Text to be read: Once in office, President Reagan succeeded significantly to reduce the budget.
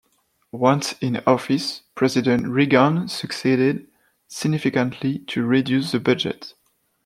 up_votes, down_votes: 2, 0